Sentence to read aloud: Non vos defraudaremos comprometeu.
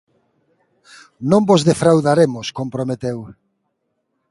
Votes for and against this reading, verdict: 2, 0, accepted